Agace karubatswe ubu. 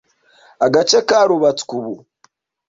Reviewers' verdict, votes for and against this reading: accepted, 2, 0